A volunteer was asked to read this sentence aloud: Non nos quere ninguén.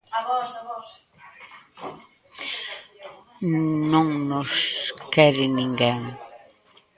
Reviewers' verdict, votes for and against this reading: rejected, 0, 2